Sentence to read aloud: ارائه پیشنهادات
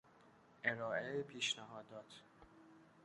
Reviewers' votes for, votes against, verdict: 1, 2, rejected